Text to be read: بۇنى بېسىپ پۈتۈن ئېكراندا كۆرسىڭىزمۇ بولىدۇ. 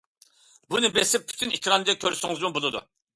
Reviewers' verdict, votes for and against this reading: accepted, 2, 0